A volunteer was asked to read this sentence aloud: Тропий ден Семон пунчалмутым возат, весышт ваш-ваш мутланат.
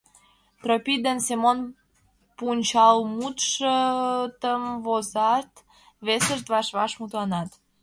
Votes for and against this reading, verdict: 1, 2, rejected